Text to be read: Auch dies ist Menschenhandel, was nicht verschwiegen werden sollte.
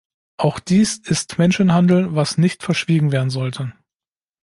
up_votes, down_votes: 2, 0